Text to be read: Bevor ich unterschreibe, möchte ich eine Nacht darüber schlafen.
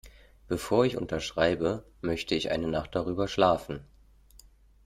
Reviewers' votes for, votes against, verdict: 2, 0, accepted